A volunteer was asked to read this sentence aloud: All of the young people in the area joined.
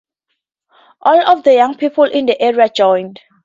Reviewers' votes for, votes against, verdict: 2, 0, accepted